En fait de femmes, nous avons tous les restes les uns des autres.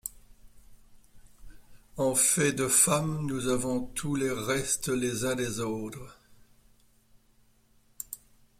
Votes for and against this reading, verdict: 2, 1, accepted